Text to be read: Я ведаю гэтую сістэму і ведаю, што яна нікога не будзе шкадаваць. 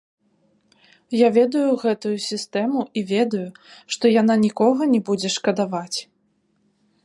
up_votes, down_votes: 2, 0